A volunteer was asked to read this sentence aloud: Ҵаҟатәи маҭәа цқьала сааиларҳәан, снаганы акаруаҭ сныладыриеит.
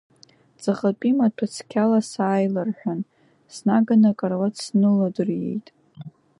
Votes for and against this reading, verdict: 0, 2, rejected